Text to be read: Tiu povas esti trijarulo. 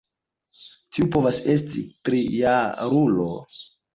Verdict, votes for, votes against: accepted, 2, 0